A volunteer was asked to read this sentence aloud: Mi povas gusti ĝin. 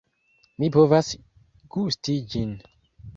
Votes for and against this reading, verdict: 2, 0, accepted